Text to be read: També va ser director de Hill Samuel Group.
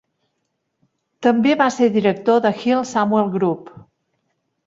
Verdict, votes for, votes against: accepted, 3, 0